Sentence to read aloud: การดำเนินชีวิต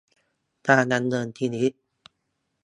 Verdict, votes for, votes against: rejected, 0, 2